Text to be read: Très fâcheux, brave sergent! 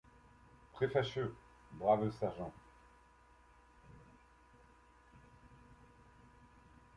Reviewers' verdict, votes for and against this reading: accepted, 2, 1